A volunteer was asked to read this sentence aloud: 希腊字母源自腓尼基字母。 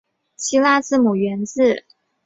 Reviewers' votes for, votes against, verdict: 2, 1, accepted